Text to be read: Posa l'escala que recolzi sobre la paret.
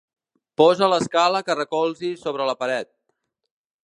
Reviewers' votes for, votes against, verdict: 2, 0, accepted